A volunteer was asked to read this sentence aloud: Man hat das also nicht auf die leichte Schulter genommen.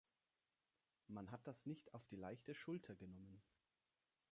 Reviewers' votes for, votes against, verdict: 1, 2, rejected